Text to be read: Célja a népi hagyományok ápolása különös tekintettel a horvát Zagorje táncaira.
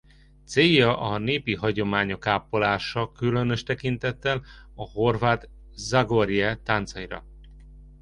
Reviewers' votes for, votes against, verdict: 2, 0, accepted